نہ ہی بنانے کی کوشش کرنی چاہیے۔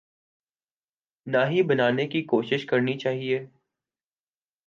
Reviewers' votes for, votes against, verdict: 2, 0, accepted